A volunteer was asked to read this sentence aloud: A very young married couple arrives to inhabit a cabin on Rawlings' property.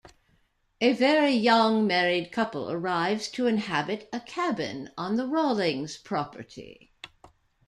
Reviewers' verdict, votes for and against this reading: rejected, 1, 2